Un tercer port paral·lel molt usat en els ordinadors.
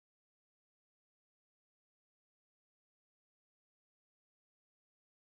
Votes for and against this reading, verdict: 0, 2, rejected